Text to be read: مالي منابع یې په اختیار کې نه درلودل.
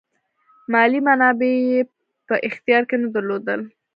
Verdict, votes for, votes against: rejected, 1, 2